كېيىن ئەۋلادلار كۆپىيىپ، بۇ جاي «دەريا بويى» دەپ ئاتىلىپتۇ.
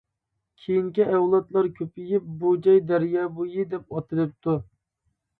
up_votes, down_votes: 0, 2